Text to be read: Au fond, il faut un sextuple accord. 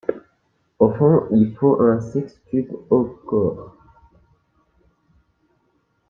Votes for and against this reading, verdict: 0, 3, rejected